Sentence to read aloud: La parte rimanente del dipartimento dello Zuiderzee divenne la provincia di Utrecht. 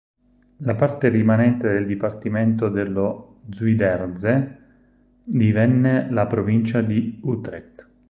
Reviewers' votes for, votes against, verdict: 2, 4, rejected